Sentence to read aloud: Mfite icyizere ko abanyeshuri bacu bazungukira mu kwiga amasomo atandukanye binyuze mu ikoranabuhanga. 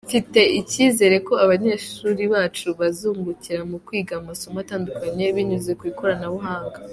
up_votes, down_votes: 2, 1